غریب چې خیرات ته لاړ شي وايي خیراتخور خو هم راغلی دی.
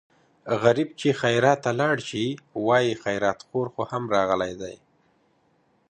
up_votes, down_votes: 2, 0